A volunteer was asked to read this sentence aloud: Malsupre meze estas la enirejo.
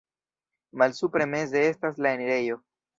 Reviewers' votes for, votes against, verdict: 0, 2, rejected